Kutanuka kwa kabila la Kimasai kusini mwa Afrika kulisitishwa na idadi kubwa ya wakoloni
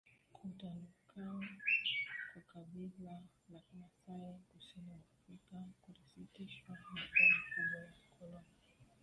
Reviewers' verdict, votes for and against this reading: rejected, 0, 2